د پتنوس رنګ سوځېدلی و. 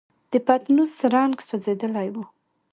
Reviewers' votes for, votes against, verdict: 2, 0, accepted